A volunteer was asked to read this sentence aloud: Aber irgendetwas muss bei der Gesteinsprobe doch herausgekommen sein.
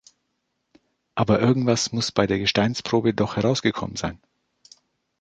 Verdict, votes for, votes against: accepted, 2, 1